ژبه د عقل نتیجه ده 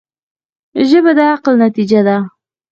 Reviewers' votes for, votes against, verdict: 2, 4, rejected